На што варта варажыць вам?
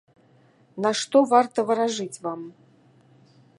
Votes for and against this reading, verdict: 2, 0, accepted